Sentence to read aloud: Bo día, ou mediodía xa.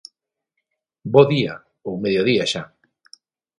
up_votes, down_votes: 3, 3